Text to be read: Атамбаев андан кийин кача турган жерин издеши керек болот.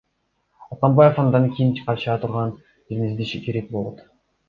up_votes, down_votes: 2, 0